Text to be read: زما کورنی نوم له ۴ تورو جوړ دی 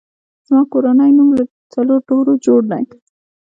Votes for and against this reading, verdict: 0, 2, rejected